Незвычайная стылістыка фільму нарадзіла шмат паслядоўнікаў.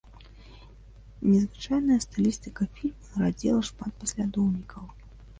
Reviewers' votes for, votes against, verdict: 1, 3, rejected